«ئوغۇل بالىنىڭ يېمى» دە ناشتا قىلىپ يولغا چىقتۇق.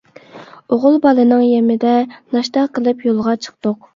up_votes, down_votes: 2, 0